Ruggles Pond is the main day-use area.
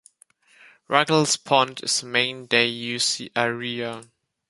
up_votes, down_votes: 1, 2